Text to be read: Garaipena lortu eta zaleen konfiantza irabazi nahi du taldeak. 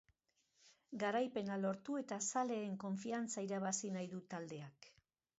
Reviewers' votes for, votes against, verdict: 4, 0, accepted